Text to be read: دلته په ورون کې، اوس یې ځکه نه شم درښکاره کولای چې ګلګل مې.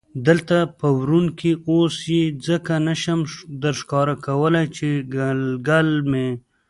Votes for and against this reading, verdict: 1, 2, rejected